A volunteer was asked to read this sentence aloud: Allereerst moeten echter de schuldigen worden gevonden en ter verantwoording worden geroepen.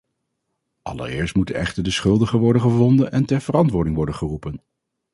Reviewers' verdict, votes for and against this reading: accepted, 2, 0